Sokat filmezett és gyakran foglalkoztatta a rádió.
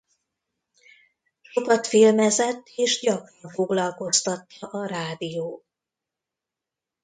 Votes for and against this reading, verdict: 0, 2, rejected